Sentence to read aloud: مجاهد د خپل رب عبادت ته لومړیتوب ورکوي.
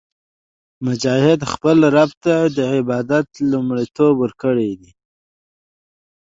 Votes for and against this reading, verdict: 2, 0, accepted